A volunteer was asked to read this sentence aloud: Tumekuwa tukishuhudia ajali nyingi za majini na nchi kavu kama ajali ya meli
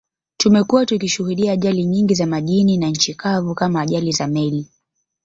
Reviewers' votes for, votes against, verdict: 1, 3, rejected